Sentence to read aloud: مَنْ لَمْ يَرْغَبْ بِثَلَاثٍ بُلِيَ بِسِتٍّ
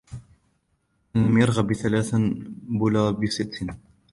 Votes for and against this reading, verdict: 0, 2, rejected